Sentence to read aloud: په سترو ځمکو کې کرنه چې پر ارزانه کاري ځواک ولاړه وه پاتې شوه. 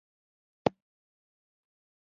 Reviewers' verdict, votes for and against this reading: rejected, 0, 2